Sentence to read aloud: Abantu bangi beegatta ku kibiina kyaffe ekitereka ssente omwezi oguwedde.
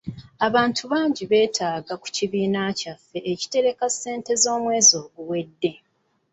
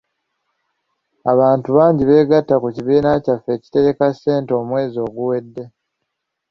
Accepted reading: second